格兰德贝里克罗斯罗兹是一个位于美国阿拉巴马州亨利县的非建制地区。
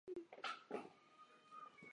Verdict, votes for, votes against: rejected, 0, 2